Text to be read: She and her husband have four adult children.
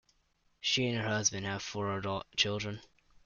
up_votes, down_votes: 1, 2